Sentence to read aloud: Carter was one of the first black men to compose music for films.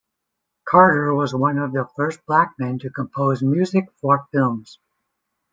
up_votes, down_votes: 2, 0